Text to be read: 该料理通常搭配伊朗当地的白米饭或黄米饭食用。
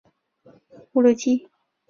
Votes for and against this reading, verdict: 0, 2, rejected